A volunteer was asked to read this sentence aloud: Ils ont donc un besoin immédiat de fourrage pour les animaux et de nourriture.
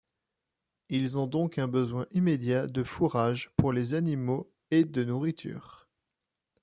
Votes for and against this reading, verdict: 2, 0, accepted